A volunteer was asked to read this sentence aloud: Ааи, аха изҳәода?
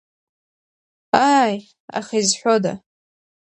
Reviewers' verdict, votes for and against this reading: accepted, 2, 0